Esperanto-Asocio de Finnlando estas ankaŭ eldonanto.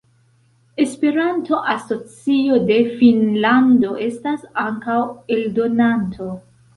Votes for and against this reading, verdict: 2, 0, accepted